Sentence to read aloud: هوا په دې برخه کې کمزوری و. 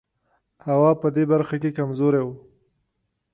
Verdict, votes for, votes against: accepted, 2, 0